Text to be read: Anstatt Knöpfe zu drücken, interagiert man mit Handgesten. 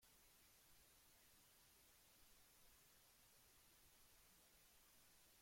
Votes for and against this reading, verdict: 0, 2, rejected